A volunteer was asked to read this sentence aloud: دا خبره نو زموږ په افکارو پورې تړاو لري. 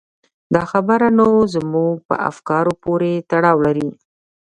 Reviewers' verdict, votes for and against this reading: rejected, 1, 2